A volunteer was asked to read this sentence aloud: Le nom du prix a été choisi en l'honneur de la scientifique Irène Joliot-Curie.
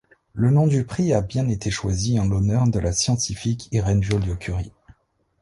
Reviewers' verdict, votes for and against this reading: rejected, 0, 2